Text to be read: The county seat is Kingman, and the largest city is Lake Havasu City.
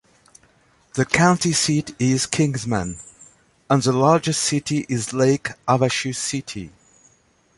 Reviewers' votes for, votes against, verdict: 1, 2, rejected